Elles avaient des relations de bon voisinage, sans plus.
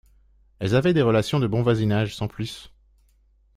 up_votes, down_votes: 2, 0